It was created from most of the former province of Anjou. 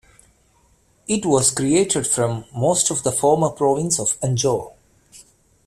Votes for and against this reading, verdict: 2, 0, accepted